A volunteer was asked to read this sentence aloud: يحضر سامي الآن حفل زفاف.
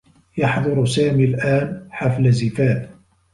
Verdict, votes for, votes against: accepted, 2, 0